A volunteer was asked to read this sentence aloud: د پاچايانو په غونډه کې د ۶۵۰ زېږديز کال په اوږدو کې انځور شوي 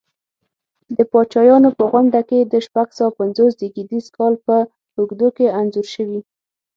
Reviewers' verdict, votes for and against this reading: rejected, 0, 2